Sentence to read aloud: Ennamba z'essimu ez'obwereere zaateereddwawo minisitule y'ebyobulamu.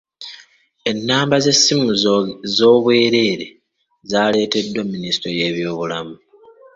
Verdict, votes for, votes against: rejected, 0, 2